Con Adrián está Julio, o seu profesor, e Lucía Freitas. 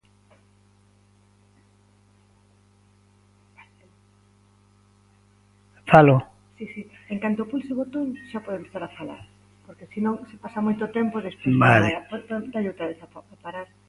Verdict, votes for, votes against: rejected, 0, 2